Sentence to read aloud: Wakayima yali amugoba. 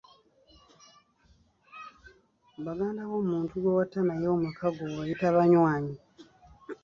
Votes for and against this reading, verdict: 1, 2, rejected